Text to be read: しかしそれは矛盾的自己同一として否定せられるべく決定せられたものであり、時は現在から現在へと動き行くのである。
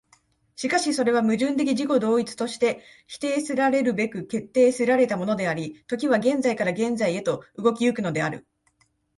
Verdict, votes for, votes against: accepted, 2, 0